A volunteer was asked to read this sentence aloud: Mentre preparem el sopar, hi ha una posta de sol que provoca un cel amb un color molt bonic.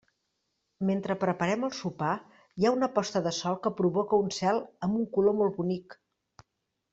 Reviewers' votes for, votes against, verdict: 3, 0, accepted